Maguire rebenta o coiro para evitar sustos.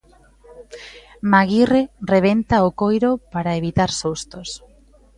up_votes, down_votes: 2, 0